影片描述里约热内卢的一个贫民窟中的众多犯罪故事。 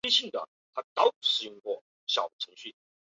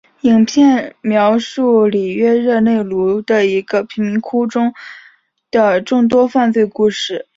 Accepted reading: second